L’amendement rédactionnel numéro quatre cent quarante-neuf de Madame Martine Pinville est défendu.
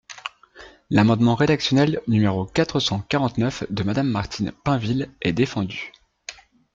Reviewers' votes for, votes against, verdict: 2, 0, accepted